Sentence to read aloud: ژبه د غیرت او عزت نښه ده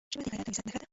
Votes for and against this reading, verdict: 0, 3, rejected